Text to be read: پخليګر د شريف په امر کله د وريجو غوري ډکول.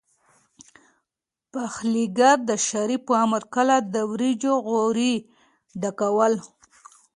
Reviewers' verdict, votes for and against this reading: rejected, 1, 2